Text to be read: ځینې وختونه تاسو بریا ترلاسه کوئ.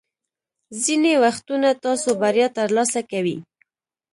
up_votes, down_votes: 2, 1